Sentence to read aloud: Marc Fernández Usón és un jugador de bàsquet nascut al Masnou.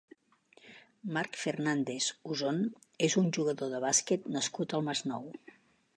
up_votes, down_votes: 2, 0